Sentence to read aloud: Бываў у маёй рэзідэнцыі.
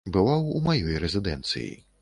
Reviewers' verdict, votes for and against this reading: accepted, 3, 0